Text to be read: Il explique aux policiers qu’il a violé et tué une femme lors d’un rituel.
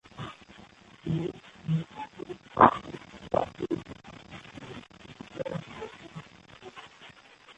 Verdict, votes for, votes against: rejected, 0, 2